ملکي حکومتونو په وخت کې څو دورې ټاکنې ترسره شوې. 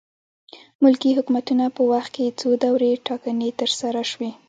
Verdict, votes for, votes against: rejected, 1, 2